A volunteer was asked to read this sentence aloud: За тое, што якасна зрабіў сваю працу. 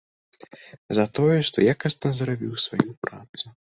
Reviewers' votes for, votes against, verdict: 2, 0, accepted